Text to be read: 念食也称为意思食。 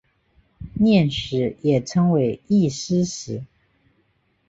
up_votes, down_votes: 3, 0